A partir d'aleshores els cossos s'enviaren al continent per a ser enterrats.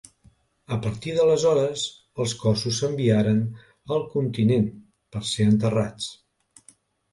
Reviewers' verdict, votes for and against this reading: rejected, 0, 2